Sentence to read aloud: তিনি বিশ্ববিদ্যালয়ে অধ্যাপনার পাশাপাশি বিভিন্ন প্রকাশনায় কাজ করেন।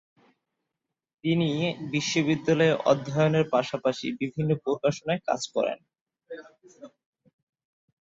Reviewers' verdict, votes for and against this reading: rejected, 1, 3